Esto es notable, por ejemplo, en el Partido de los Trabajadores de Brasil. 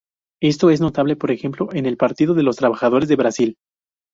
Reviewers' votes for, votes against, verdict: 4, 0, accepted